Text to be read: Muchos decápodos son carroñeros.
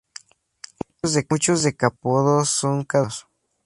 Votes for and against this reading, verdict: 0, 4, rejected